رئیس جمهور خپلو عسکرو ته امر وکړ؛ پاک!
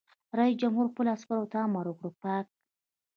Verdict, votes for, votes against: accepted, 2, 0